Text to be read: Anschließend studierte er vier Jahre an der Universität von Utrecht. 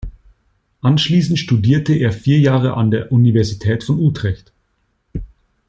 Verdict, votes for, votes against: accepted, 2, 0